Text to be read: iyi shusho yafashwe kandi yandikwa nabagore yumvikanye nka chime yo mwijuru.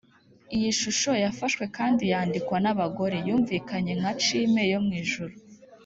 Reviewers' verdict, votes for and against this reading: accepted, 3, 0